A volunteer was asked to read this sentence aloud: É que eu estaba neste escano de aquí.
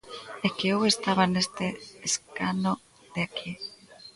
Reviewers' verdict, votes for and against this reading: accepted, 2, 1